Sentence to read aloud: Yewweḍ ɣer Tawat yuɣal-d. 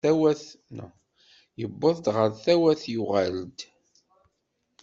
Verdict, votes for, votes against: rejected, 0, 2